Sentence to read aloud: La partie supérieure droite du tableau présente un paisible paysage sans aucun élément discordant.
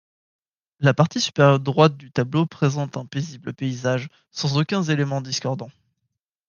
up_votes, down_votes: 0, 2